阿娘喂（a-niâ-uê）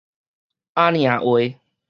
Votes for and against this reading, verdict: 2, 2, rejected